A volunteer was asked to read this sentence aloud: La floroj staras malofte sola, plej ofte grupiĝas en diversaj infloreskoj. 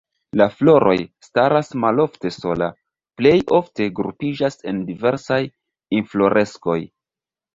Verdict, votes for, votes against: rejected, 1, 2